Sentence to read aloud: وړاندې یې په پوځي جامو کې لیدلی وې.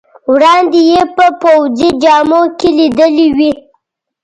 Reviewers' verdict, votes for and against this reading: accepted, 2, 0